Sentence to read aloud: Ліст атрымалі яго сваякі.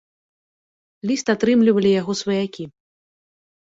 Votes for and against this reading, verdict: 0, 2, rejected